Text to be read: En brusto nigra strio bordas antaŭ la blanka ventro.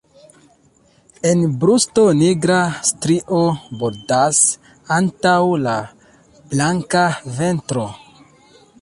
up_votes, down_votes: 1, 2